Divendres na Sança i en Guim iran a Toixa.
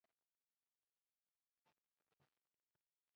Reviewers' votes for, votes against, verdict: 0, 2, rejected